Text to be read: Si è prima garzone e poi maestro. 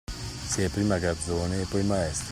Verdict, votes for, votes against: rejected, 0, 2